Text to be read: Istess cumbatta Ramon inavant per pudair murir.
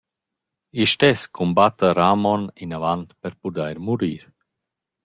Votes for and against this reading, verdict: 0, 2, rejected